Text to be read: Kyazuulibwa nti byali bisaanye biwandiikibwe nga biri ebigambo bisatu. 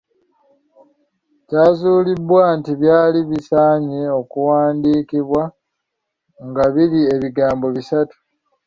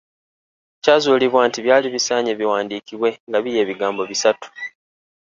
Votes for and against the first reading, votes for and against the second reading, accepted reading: 0, 2, 2, 0, second